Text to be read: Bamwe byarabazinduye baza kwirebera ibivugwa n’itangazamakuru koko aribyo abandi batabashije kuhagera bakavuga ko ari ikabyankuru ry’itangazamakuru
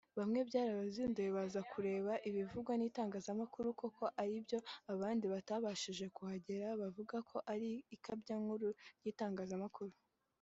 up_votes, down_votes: 2, 0